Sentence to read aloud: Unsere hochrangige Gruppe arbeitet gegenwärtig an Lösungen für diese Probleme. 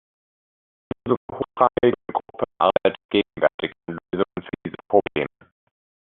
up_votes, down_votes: 0, 2